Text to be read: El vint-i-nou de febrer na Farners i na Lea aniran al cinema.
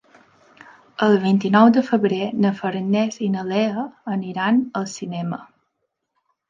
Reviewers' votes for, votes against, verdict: 2, 0, accepted